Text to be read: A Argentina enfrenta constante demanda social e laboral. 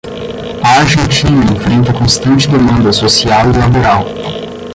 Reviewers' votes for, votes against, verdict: 0, 10, rejected